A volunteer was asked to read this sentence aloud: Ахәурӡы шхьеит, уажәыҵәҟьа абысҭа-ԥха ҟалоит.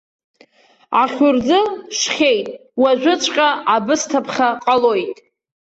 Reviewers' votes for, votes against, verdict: 2, 1, accepted